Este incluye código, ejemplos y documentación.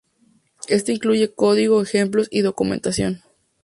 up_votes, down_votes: 2, 0